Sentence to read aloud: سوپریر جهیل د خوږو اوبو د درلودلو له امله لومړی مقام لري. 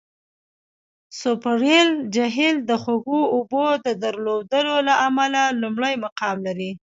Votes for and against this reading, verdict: 2, 0, accepted